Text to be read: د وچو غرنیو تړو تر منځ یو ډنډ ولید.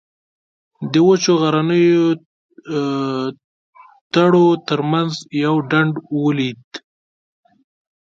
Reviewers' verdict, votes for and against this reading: rejected, 1, 2